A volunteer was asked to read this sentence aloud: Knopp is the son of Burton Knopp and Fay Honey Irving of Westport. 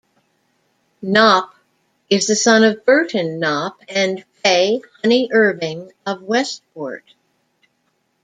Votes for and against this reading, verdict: 2, 0, accepted